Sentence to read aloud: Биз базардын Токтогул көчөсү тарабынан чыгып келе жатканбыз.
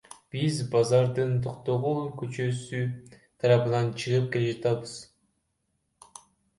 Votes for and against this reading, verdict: 1, 2, rejected